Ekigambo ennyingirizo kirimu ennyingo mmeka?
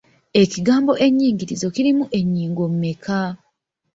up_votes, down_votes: 1, 2